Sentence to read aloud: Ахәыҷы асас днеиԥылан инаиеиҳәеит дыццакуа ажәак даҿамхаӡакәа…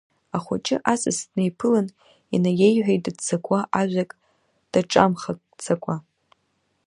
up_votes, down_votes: 2, 0